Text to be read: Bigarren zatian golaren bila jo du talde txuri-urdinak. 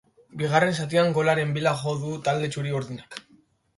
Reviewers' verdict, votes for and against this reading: accepted, 2, 0